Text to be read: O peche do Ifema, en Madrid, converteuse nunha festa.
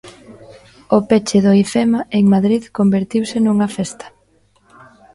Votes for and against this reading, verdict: 0, 2, rejected